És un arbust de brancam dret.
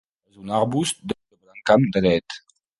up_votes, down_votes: 0, 2